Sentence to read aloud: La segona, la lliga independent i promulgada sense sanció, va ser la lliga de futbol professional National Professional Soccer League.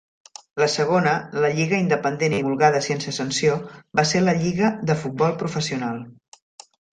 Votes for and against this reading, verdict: 0, 2, rejected